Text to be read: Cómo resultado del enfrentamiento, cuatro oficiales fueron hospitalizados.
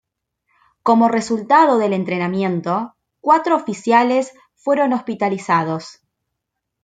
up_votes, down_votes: 1, 2